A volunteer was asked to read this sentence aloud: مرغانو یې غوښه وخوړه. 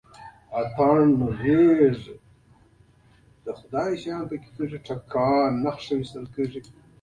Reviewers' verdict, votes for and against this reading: rejected, 0, 2